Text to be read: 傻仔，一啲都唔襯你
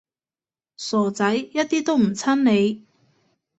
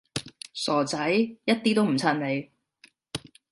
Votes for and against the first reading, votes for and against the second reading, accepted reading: 0, 2, 2, 0, second